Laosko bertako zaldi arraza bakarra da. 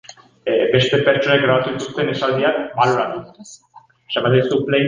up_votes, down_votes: 0, 2